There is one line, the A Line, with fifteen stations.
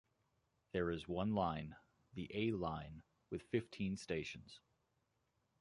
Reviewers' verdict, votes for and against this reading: accepted, 2, 0